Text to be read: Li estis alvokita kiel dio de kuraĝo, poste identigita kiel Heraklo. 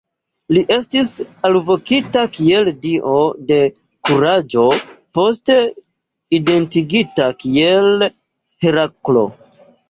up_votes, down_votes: 0, 2